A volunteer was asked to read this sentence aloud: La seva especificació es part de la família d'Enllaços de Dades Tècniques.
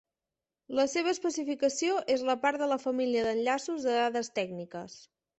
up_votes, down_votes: 0, 2